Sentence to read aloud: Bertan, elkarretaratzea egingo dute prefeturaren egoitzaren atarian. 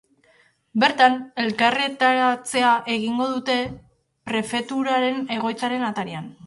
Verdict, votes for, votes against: accepted, 3, 1